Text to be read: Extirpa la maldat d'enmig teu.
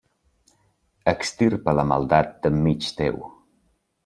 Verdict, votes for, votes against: accepted, 2, 0